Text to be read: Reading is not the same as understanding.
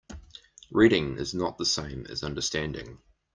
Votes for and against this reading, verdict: 2, 0, accepted